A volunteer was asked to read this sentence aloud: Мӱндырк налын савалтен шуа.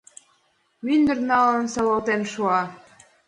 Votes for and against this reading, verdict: 1, 2, rejected